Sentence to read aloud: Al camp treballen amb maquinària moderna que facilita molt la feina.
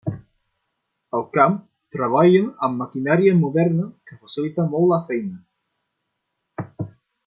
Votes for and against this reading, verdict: 0, 2, rejected